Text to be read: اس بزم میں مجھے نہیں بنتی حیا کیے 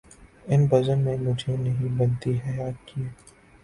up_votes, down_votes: 2, 1